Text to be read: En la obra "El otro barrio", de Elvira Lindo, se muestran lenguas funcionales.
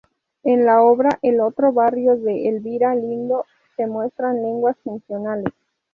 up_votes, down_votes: 2, 0